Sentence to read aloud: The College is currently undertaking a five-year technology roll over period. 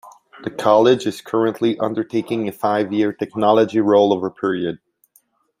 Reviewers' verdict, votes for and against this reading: accepted, 2, 0